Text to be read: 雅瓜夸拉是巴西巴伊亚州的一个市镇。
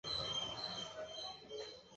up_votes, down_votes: 3, 6